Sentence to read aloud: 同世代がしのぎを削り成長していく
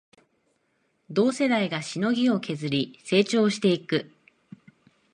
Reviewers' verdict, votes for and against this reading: accepted, 2, 0